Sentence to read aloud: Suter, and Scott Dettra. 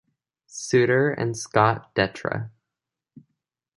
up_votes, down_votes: 2, 0